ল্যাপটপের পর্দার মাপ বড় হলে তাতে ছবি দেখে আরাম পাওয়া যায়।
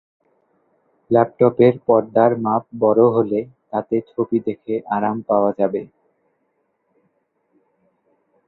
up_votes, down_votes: 2, 3